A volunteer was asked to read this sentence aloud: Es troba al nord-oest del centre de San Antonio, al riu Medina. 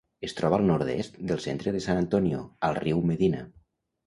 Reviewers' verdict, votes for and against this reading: rejected, 0, 2